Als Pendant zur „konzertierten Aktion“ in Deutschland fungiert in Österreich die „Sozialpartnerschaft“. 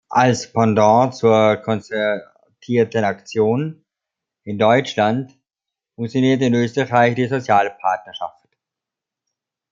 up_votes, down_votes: 0, 2